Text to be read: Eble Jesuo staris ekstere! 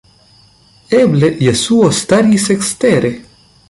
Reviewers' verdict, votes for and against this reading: accepted, 2, 1